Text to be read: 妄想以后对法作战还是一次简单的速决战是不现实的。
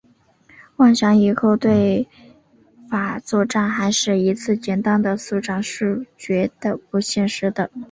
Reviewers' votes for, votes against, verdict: 1, 3, rejected